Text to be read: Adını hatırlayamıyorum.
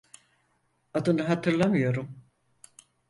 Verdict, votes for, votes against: rejected, 0, 4